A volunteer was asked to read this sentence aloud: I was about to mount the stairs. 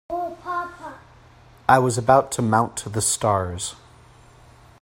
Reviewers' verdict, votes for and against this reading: rejected, 1, 2